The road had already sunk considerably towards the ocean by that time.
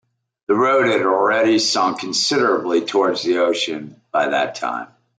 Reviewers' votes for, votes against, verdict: 2, 0, accepted